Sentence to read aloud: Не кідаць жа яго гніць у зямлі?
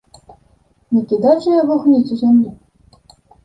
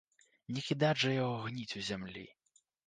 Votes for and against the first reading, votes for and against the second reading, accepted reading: 1, 2, 2, 0, second